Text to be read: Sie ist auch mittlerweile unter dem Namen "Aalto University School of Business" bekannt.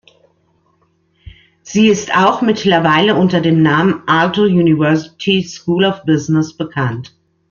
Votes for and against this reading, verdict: 1, 2, rejected